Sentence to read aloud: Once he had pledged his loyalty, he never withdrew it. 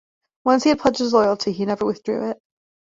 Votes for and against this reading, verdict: 0, 2, rejected